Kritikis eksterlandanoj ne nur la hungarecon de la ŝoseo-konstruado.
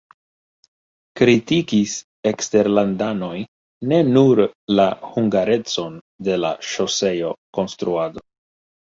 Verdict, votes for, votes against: accepted, 2, 1